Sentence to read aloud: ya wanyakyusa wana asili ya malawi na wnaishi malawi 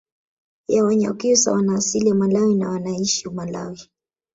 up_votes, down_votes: 2, 0